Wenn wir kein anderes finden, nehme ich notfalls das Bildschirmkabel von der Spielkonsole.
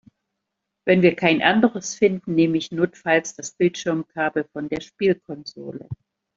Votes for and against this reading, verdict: 2, 0, accepted